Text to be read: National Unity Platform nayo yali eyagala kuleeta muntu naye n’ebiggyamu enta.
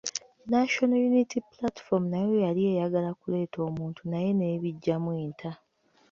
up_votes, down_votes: 0, 2